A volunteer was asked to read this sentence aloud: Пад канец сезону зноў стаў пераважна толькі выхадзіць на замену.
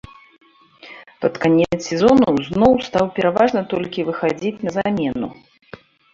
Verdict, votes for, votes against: rejected, 1, 2